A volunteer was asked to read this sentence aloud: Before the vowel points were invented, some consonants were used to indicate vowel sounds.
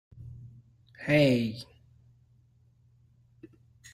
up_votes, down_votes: 0, 2